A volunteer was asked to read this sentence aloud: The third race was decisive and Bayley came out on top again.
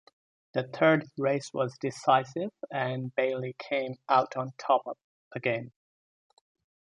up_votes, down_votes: 2, 0